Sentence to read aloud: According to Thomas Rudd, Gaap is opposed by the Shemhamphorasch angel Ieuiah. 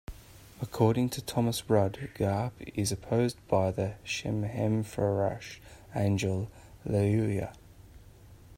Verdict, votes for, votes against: accepted, 2, 1